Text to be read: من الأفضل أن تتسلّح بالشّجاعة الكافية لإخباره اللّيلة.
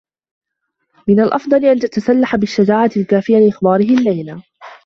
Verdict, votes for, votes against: rejected, 0, 2